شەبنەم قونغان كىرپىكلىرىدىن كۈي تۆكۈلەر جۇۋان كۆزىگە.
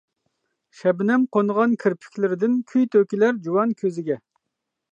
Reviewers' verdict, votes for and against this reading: accepted, 2, 0